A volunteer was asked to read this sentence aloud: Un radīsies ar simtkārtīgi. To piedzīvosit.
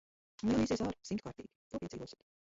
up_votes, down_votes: 0, 2